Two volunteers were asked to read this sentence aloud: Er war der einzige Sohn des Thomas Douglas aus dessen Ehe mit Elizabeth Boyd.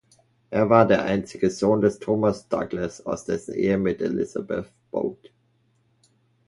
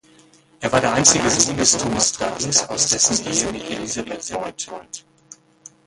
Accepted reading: first